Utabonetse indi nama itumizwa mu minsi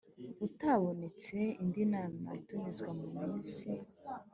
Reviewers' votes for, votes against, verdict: 3, 0, accepted